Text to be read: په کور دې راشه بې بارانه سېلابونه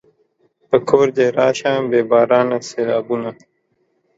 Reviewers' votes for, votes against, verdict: 2, 0, accepted